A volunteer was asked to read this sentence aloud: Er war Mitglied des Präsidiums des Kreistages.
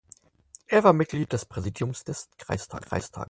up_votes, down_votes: 2, 4